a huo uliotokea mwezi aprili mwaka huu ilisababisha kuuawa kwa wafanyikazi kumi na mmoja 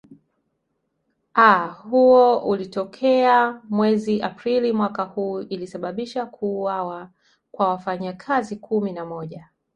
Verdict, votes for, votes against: rejected, 1, 2